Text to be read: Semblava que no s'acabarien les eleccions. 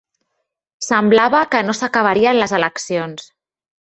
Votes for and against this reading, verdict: 3, 1, accepted